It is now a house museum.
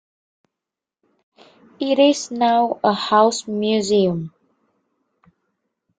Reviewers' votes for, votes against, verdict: 2, 0, accepted